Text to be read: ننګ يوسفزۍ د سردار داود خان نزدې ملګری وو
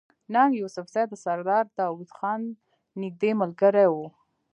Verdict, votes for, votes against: accepted, 2, 1